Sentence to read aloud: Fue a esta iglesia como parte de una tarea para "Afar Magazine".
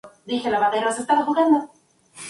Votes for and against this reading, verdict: 0, 2, rejected